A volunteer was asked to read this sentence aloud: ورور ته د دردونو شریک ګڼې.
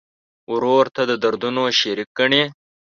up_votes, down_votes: 3, 1